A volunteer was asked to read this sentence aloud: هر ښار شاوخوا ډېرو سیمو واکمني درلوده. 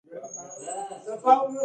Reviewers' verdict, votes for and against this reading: rejected, 1, 2